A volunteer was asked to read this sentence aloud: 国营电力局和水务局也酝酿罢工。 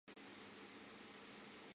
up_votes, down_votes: 0, 2